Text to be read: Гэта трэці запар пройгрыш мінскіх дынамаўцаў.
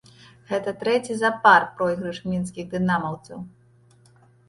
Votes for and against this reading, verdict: 0, 2, rejected